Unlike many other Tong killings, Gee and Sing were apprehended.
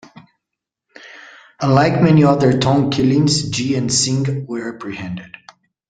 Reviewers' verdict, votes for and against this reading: accepted, 2, 0